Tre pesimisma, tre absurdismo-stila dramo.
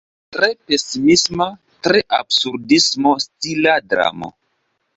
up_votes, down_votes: 2, 0